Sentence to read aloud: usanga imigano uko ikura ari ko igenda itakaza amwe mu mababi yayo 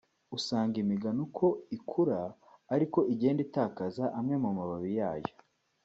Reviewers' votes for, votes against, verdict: 3, 0, accepted